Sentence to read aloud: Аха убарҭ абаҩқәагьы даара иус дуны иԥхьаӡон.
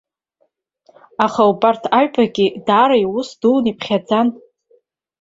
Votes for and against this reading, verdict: 0, 3, rejected